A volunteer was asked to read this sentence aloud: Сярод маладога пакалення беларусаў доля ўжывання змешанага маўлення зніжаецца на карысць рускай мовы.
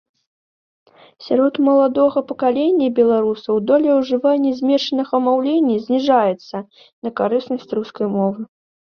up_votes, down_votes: 0, 2